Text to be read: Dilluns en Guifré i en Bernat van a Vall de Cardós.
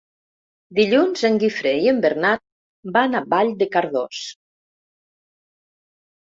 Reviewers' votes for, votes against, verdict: 3, 0, accepted